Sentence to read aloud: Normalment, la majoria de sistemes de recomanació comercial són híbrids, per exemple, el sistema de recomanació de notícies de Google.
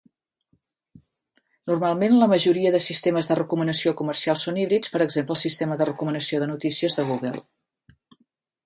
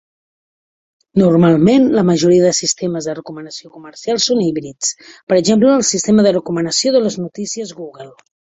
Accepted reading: first